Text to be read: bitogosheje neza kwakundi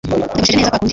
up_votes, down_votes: 0, 2